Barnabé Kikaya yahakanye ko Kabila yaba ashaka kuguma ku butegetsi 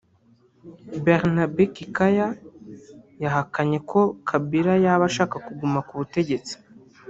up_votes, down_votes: 1, 2